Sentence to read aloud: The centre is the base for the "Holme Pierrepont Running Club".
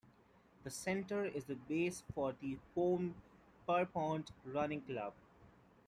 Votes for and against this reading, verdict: 0, 2, rejected